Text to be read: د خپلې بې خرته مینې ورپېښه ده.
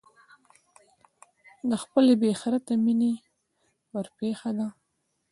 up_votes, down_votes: 0, 2